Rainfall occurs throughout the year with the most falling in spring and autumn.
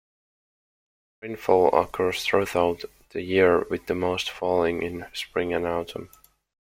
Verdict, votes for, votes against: accepted, 2, 0